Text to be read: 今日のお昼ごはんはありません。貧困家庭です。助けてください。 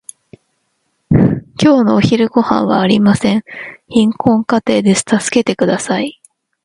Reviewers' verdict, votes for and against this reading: accepted, 2, 0